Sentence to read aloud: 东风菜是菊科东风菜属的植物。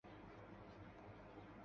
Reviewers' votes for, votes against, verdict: 0, 2, rejected